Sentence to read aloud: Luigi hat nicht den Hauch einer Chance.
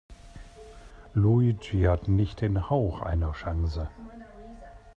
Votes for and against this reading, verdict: 0, 2, rejected